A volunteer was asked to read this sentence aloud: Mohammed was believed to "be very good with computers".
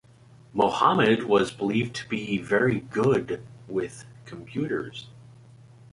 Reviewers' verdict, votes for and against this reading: accepted, 2, 0